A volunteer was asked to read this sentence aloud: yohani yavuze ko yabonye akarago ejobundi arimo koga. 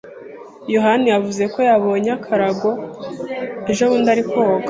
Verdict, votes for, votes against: rejected, 1, 2